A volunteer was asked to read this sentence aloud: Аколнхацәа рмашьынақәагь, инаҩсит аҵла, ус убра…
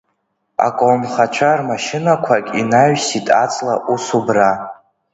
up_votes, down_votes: 2, 0